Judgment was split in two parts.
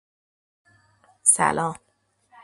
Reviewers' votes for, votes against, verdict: 0, 2, rejected